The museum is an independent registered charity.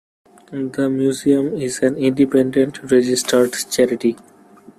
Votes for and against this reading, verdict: 1, 2, rejected